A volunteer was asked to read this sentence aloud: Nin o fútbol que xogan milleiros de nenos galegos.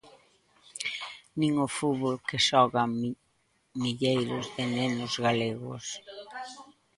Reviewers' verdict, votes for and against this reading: rejected, 0, 2